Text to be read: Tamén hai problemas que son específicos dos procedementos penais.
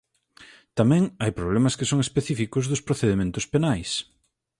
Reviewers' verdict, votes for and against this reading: accepted, 4, 0